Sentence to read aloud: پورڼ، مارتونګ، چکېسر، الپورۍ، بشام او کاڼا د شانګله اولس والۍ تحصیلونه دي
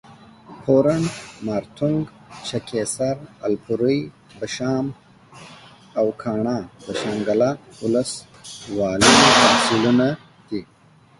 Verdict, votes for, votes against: accepted, 2, 0